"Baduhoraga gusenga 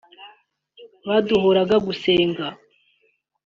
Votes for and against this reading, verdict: 2, 0, accepted